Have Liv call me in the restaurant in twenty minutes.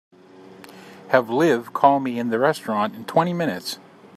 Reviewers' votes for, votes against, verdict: 3, 0, accepted